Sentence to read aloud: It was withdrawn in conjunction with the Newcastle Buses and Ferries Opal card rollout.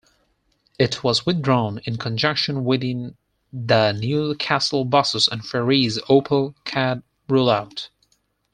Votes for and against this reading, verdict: 4, 2, accepted